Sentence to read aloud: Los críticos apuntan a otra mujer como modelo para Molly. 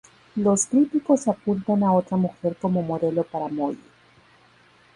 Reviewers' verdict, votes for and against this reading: accepted, 2, 0